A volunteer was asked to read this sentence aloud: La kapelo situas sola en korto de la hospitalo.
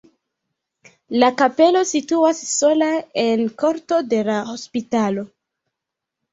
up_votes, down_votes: 2, 1